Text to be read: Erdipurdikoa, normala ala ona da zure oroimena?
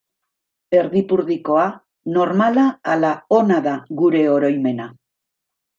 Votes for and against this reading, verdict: 0, 2, rejected